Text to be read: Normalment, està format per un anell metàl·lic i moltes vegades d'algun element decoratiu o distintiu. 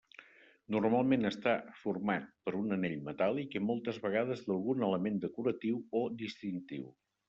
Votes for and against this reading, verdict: 3, 0, accepted